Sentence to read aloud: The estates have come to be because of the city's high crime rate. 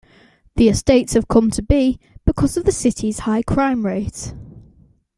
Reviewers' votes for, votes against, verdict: 2, 1, accepted